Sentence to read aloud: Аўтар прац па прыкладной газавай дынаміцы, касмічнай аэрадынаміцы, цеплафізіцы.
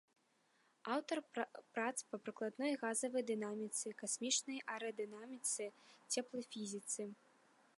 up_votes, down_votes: 0, 2